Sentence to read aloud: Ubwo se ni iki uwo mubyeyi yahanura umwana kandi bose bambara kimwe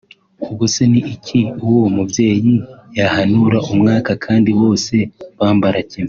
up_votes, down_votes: 0, 2